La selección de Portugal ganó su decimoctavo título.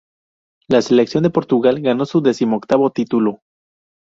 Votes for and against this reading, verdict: 2, 0, accepted